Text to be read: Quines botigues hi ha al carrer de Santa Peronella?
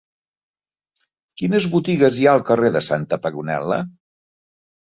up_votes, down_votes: 0, 2